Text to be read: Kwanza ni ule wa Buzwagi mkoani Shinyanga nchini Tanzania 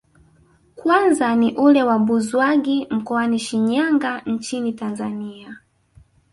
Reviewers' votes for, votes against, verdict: 1, 2, rejected